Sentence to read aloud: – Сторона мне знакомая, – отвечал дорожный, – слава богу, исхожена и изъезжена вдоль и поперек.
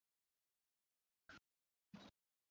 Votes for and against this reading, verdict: 0, 2, rejected